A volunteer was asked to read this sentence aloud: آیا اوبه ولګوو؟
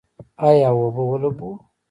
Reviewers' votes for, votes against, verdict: 0, 2, rejected